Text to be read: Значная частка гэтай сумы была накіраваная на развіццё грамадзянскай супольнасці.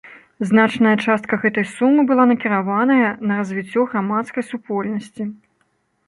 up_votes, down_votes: 0, 2